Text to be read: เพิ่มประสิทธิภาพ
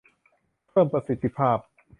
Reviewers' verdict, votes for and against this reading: accepted, 2, 0